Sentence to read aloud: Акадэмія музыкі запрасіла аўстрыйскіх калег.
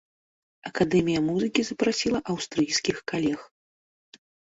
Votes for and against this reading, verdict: 2, 0, accepted